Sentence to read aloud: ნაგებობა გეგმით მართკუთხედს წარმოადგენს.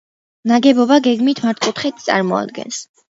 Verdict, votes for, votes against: accepted, 2, 0